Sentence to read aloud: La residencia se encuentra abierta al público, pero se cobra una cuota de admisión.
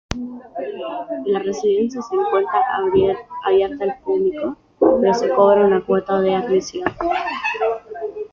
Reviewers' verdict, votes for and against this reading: rejected, 1, 2